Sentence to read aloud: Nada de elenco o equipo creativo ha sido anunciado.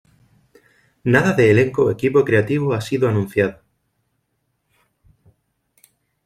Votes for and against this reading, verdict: 2, 0, accepted